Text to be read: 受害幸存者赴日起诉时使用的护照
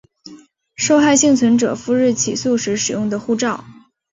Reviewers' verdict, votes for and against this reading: accepted, 2, 0